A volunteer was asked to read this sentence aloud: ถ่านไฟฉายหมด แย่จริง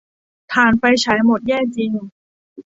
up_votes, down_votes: 2, 0